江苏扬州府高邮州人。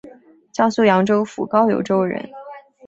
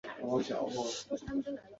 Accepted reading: first